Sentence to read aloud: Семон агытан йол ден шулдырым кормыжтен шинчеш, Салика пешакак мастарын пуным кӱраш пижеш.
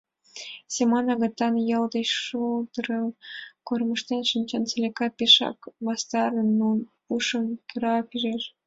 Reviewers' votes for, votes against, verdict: 1, 2, rejected